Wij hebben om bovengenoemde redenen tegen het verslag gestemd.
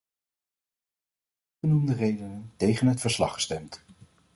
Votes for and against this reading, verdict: 0, 2, rejected